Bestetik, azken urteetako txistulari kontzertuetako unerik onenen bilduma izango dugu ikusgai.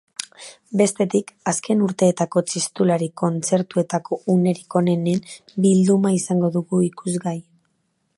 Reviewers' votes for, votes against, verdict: 2, 0, accepted